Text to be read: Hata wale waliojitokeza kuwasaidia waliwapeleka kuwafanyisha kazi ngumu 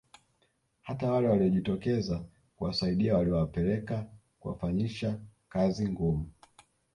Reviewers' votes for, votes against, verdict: 2, 0, accepted